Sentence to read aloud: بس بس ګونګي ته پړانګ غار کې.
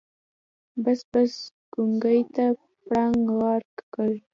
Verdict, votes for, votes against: rejected, 1, 3